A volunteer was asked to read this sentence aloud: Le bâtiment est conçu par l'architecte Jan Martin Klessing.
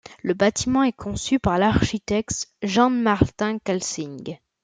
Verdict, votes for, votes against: rejected, 1, 2